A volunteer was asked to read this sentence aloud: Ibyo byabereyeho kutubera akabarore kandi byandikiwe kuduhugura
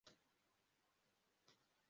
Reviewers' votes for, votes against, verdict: 0, 2, rejected